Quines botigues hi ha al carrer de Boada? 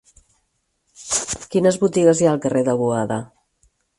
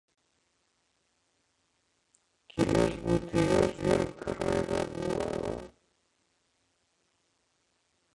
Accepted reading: first